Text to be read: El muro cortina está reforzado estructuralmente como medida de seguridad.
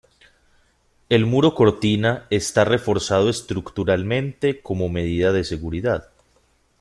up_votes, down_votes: 2, 0